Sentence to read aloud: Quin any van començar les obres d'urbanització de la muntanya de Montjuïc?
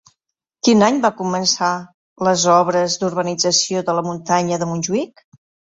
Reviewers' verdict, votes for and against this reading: rejected, 0, 3